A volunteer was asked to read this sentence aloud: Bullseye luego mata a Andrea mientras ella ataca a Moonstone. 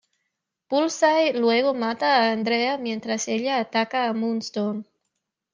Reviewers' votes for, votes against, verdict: 2, 0, accepted